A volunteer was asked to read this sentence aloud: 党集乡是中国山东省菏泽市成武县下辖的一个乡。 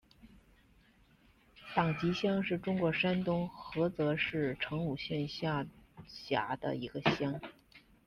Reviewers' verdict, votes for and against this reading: rejected, 1, 2